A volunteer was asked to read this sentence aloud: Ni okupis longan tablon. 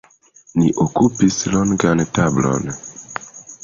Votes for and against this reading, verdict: 2, 0, accepted